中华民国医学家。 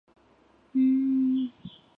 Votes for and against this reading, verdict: 1, 2, rejected